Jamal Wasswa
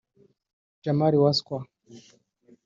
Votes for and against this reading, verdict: 1, 2, rejected